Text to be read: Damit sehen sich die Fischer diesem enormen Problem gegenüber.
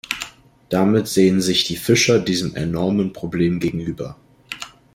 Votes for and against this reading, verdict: 2, 0, accepted